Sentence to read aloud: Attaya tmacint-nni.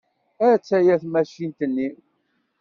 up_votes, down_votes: 2, 0